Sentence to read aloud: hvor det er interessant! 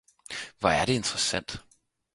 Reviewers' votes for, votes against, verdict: 2, 4, rejected